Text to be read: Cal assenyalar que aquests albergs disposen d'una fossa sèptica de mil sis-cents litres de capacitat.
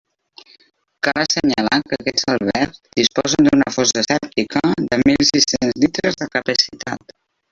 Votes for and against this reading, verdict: 0, 2, rejected